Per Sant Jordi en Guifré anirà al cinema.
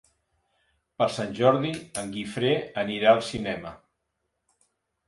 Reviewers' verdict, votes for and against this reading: accepted, 3, 0